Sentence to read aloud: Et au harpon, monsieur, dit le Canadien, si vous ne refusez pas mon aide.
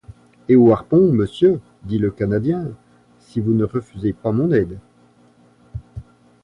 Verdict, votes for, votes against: accepted, 2, 0